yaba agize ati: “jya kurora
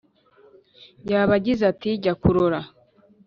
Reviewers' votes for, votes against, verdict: 2, 0, accepted